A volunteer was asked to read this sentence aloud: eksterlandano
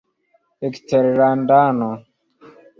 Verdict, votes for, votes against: accepted, 2, 0